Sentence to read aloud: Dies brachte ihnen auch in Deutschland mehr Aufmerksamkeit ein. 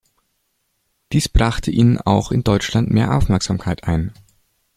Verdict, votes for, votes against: accepted, 2, 0